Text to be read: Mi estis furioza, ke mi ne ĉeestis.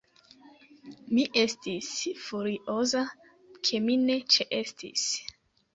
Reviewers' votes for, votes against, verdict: 2, 0, accepted